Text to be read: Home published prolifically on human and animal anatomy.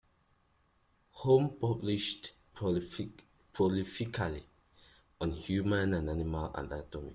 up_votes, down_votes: 2, 1